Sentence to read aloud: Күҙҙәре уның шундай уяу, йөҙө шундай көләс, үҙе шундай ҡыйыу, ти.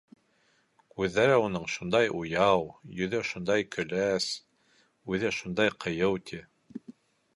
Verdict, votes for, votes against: accepted, 2, 0